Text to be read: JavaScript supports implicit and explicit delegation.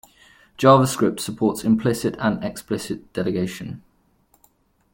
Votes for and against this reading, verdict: 2, 0, accepted